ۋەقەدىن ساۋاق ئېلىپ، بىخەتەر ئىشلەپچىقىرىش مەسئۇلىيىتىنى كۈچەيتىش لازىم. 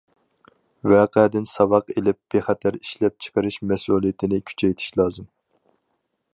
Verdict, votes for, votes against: accepted, 4, 0